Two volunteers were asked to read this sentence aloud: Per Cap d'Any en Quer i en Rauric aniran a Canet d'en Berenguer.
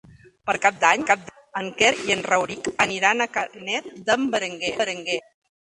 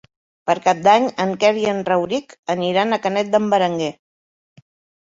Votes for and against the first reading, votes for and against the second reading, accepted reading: 0, 2, 3, 0, second